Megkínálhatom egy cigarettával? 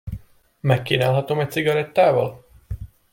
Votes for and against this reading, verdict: 2, 0, accepted